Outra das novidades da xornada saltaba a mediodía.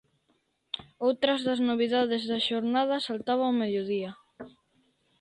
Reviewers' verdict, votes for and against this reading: rejected, 0, 2